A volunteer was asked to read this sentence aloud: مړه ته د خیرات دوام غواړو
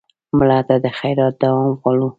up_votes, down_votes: 1, 2